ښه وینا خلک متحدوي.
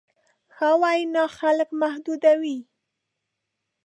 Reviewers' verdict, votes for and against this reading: rejected, 1, 2